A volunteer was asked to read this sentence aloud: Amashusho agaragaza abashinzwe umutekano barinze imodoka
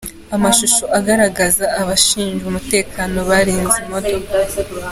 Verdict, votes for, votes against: accepted, 2, 0